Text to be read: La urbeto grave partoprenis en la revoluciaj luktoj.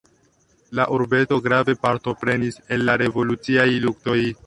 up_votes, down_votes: 2, 1